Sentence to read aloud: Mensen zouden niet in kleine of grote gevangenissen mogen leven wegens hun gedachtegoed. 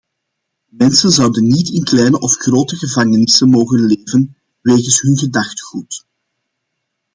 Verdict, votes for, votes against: accepted, 2, 0